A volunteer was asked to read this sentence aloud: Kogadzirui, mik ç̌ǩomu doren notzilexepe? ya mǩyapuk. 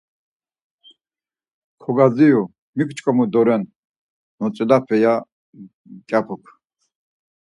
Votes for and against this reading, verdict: 4, 2, accepted